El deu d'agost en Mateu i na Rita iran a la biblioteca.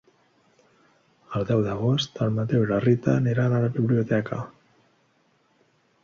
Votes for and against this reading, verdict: 1, 2, rejected